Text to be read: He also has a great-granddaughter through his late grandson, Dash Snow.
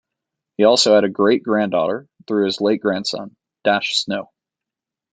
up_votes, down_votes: 0, 2